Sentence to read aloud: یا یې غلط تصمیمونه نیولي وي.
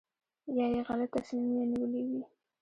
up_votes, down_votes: 2, 0